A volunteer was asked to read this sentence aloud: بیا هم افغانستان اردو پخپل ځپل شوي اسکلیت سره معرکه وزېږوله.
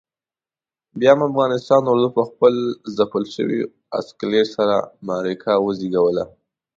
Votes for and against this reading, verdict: 2, 0, accepted